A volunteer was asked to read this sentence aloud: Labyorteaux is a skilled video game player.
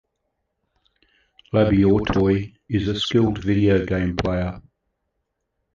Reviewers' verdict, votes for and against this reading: rejected, 1, 2